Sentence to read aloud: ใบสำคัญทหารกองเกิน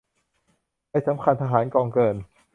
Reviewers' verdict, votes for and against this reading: rejected, 1, 2